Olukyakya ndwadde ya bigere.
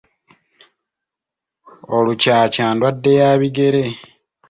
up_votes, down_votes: 2, 0